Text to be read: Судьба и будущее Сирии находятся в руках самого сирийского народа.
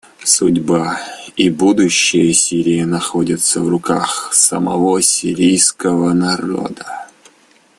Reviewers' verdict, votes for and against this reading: rejected, 1, 2